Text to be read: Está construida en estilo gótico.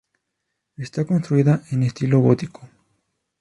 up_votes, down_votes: 0, 2